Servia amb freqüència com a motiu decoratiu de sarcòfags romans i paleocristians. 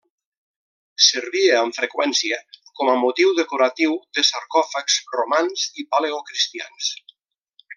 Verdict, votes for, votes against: rejected, 1, 2